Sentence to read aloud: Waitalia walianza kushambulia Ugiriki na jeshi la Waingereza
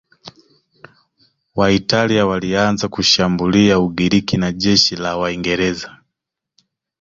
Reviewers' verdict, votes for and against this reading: accepted, 2, 0